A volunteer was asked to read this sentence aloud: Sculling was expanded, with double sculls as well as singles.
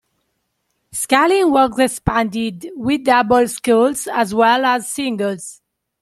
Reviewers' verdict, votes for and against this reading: rejected, 0, 2